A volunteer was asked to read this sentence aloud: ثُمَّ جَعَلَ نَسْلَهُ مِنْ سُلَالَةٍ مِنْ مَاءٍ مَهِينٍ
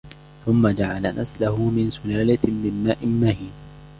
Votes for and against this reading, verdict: 2, 0, accepted